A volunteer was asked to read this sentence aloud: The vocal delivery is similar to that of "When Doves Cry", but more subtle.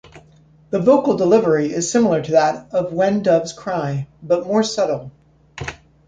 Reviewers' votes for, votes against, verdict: 2, 0, accepted